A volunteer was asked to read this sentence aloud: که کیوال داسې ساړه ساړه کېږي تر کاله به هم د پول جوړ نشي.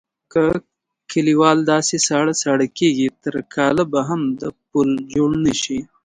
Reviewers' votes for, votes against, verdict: 0, 2, rejected